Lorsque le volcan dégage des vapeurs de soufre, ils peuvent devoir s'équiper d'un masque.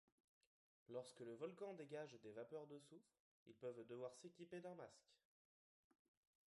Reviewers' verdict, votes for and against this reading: rejected, 1, 2